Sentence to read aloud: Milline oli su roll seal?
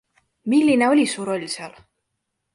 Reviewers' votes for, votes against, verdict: 2, 1, accepted